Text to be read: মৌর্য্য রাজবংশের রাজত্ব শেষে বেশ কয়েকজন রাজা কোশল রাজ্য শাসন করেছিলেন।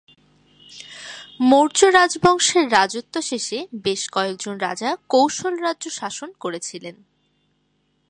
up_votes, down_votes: 7, 2